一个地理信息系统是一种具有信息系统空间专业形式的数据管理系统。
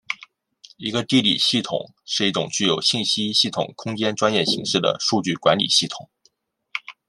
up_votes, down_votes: 0, 2